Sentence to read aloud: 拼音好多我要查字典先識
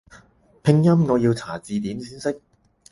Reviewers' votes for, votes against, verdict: 2, 6, rejected